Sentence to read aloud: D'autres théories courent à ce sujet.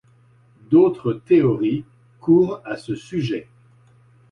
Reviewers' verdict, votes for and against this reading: accepted, 2, 0